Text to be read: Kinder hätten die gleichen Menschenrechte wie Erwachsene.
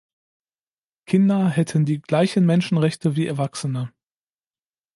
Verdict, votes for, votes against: accepted, 2, 0